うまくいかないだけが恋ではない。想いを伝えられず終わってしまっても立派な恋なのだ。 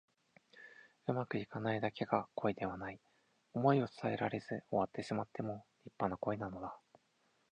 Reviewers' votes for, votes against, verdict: 4, 0, accepted